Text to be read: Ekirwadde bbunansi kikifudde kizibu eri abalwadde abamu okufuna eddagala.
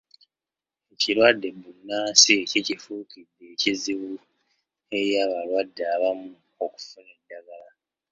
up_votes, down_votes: 1, 2